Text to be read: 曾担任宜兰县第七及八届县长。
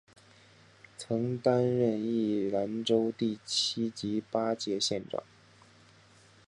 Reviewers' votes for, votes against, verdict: 1, 2, rejected